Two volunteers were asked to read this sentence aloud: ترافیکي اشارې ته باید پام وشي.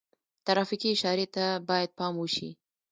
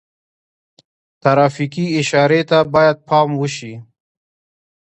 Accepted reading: second